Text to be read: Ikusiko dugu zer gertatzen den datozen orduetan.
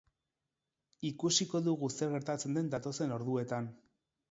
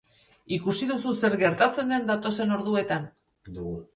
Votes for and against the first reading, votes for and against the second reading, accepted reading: 4, 0, 0, 2, first